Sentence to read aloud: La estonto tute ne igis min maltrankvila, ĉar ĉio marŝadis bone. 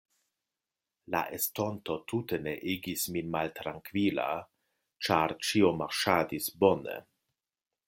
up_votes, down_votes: 3, 0